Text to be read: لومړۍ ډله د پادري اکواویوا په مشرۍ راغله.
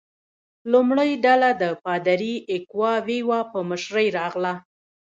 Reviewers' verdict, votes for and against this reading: rejected, 1, 2